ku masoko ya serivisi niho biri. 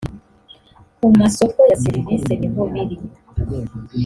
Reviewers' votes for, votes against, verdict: 3, 0, accepted